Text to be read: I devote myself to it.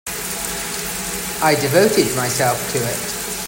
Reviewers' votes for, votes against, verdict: 1, 2, rejected